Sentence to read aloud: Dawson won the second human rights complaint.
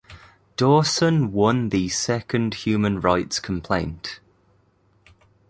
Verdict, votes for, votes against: accepted, 2, 0